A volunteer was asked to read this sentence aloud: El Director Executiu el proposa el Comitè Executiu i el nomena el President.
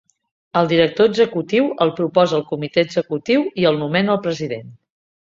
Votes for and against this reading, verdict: 4, 0, accepted